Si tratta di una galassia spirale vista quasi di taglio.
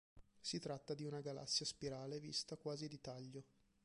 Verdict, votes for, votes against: rejected, 2, 3